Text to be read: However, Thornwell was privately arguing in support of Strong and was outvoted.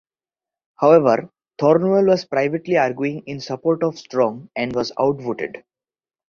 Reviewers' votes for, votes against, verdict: 2, 1, accepted